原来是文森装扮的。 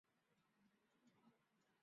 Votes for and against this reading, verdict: 1, 2, rejected